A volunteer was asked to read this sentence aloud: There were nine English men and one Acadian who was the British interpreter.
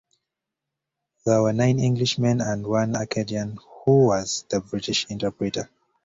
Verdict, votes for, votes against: accepted, 2, 0